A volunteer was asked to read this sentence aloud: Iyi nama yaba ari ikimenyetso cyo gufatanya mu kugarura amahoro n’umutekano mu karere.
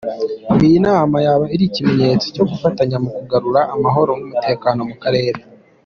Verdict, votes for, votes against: accepted, 2, 0